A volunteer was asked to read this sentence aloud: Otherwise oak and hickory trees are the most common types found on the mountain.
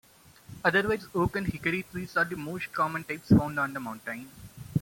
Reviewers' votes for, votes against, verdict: 0, 2, rejected